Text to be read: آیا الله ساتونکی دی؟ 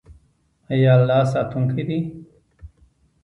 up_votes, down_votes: 2, 1